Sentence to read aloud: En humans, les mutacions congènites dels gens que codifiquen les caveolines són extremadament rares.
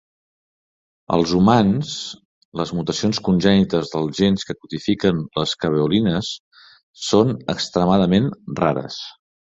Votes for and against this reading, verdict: 0, 2, rejected